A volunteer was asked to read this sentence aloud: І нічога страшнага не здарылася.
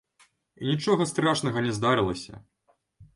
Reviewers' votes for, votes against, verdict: 1, 2, rejected